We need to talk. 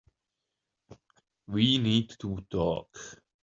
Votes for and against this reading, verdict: 2, 0, accepted